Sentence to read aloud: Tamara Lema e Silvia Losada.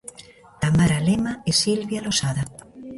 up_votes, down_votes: 0, 2